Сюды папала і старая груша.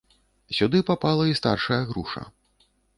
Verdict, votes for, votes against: rejected, 0, 2